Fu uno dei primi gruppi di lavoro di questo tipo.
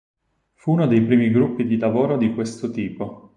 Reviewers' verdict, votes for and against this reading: rejected, 2, 4